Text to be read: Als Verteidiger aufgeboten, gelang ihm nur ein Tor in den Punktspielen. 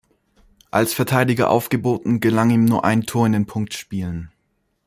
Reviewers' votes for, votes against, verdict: 2, 0, accepted